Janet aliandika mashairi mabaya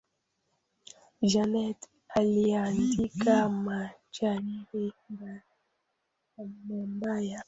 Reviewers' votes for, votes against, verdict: 0, 2, rejected